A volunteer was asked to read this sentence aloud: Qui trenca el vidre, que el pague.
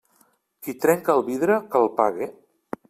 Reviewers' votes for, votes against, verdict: 2, 0, accepted